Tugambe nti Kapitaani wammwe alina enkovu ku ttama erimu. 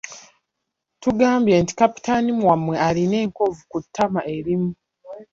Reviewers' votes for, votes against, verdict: 1, 2, rejected